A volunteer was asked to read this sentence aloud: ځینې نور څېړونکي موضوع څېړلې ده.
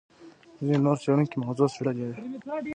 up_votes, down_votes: 2, 1